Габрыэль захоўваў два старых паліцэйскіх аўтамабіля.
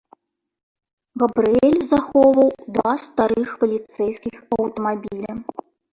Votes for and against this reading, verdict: 0, 2, rejected